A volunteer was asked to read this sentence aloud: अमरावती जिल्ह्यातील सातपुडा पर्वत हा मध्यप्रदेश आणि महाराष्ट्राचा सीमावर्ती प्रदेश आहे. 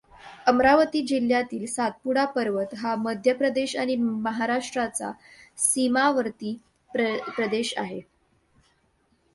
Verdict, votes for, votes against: accepted, 2, 0